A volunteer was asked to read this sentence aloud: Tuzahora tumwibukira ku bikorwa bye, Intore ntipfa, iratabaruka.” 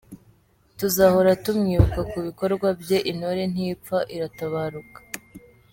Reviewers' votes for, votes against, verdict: 2, 0, accepted